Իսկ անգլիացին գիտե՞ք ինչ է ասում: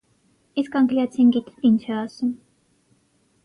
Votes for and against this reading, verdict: 6, 0, accepted